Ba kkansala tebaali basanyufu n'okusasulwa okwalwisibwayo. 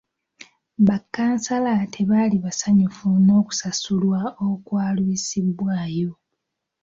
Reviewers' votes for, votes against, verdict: 1, 2, rejected